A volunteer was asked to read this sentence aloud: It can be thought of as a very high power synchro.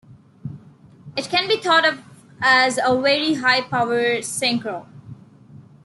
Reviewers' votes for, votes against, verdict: 2, 0, accepted